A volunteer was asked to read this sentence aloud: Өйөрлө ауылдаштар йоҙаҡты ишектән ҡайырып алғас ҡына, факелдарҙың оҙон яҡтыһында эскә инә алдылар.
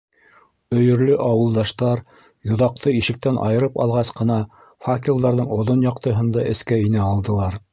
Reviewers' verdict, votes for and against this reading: rejected, 0, 2